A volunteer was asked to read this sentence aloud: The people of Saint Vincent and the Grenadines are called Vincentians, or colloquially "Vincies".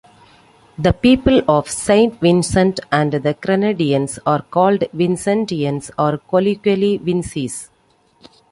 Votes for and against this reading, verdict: 2, 1, accepted